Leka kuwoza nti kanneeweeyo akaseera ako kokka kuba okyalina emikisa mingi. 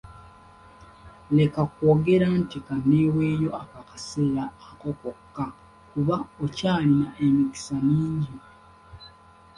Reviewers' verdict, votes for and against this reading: rejected, 0, 2